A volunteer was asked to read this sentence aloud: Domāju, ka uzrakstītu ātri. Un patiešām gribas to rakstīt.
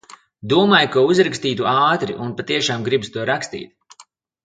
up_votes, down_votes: 2, 0